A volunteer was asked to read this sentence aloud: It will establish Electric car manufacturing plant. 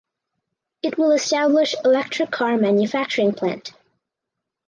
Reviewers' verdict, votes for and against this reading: accepted, 4, 0